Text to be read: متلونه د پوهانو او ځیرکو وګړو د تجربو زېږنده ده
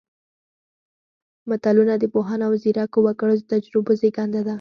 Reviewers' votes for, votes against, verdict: 4, 0, accepted